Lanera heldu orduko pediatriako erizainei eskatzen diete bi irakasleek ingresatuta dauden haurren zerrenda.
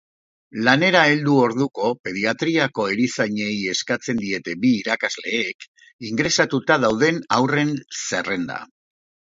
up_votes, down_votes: 2, 0